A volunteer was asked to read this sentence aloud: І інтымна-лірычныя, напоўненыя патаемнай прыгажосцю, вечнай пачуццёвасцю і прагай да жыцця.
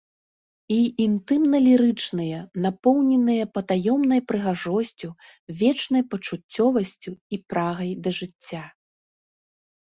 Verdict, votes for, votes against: accepted, 2, 1